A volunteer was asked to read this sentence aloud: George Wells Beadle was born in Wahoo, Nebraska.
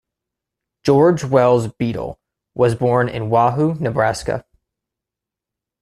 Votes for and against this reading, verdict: 2, 0, accepted